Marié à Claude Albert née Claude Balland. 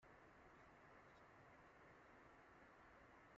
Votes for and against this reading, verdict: 1, 2, rejected